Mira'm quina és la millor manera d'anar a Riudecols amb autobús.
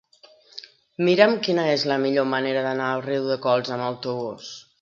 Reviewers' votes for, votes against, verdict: 2, 0, accepted